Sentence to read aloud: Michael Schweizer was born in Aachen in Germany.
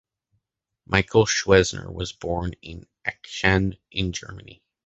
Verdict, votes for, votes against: rejected, 0, 2